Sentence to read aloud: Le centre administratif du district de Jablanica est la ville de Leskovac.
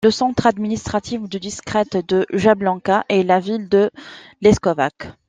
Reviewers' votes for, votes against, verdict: 0, 2, rejected